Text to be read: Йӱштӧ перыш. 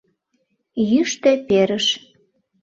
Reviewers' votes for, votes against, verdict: 2, 0, accepted